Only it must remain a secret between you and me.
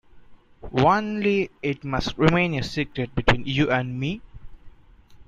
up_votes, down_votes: 0, 2